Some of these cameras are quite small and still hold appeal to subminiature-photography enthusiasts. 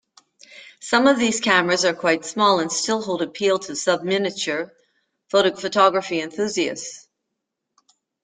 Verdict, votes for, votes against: rejected, 0, 2